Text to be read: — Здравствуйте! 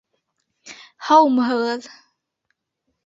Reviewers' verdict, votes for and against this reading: rejected, 1, 3